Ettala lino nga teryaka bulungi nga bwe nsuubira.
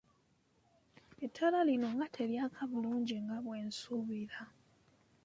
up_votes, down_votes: 2, 0